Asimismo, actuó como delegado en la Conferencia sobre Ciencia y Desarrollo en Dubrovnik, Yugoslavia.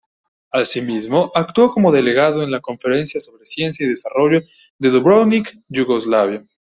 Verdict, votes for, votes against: rejected, 1, 2